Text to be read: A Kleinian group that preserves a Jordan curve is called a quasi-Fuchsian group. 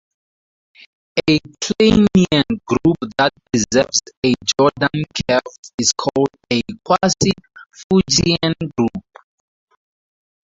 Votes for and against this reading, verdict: 2, 0, accepted